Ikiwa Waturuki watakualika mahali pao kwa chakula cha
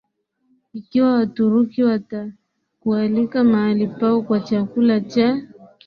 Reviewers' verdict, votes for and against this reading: accepted, 11, 0